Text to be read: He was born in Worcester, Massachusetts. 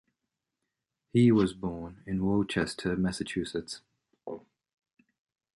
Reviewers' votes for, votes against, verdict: 2, 0, accepted